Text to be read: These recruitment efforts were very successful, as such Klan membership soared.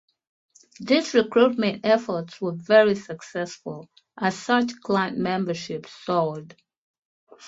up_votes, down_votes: 0, 2